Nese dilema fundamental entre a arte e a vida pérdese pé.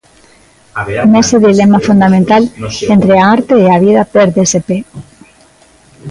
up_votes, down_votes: 1, 2